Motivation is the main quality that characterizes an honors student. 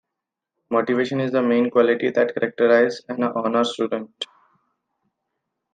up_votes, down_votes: 2, 1